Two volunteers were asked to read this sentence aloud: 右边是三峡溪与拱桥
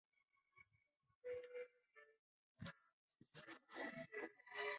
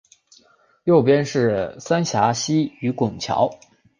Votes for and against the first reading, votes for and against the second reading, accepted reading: 0, 5, 3, 0, second